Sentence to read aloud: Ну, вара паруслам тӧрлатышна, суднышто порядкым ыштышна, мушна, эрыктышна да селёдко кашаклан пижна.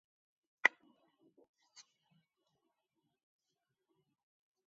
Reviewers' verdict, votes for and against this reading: rejected, 1, 2